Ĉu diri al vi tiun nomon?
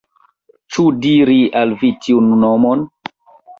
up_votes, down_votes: 2, 0